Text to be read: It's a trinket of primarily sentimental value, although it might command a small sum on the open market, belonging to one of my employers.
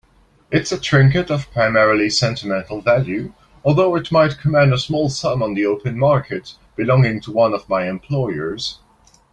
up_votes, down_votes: 2, 0